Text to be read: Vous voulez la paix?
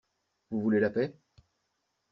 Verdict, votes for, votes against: accepted, 2, 0